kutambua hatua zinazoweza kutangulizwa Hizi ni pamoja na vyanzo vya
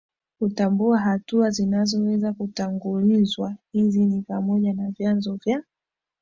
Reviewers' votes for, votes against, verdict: 2, 0, accepted